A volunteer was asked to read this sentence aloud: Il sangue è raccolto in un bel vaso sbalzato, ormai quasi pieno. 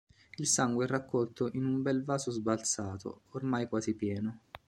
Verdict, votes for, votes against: accepted, 3, 0